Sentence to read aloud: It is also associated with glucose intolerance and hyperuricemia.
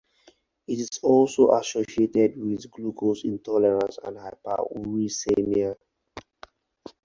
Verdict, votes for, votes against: accepted, 4, 0